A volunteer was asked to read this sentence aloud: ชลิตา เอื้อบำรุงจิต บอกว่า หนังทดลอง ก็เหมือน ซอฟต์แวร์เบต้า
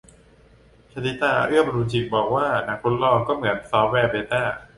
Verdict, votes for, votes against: accepted, 2, 0